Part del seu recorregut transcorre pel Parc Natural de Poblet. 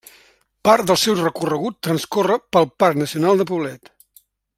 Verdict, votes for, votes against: rejected, 0, 2